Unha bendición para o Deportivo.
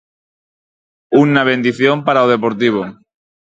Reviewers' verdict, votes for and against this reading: rejected, 0, 4